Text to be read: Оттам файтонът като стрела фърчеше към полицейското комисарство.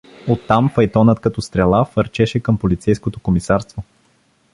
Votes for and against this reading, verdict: 2, 0, accepted